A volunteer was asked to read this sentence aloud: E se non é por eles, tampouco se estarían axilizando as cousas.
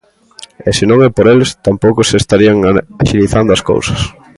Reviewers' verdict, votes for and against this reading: rejected, 0, 2